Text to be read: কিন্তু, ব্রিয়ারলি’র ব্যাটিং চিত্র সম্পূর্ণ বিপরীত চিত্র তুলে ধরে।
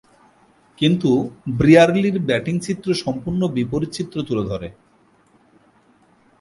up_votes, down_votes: 8, 0